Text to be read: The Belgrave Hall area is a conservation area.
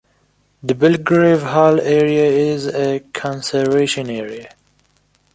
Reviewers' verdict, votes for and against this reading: accepted, 2, 0